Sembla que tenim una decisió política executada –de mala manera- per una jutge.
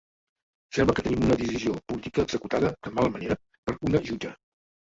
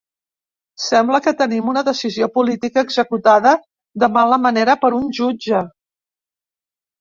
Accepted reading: second